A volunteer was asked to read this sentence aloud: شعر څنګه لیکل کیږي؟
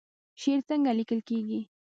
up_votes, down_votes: 2, 3